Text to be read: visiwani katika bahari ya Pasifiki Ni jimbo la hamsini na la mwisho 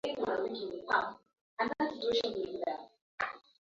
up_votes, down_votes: 1, 2